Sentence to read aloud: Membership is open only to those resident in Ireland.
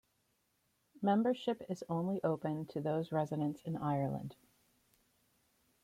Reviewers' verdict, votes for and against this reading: rejected, 1, 2